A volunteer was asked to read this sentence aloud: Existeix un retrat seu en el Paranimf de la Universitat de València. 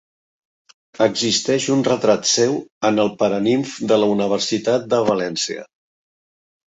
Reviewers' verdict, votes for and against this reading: rejected, 1, 2